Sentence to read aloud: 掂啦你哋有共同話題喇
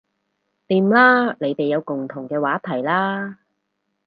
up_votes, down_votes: 0, 4